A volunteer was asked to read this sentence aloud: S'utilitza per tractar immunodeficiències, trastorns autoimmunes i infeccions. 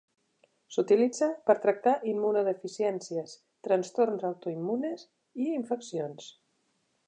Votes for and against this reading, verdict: 3, 0, accepted